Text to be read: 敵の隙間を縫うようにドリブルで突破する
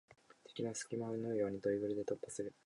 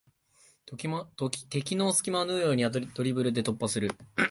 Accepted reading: first